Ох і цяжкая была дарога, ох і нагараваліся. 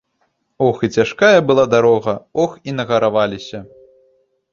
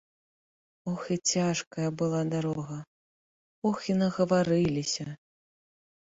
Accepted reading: first